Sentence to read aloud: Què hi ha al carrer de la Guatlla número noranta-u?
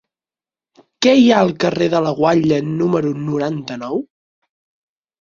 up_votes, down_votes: 0, 4